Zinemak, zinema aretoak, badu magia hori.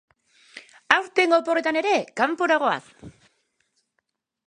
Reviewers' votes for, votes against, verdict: 0, 2, rejected